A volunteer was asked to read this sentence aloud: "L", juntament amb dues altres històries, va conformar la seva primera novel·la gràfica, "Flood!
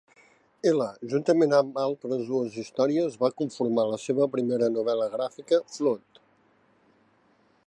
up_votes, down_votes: 0, 2